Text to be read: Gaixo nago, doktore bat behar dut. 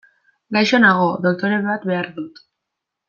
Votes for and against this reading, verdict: 2, 0, accepted